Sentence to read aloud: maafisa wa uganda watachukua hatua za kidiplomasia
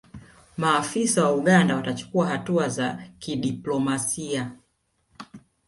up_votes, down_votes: 1, 2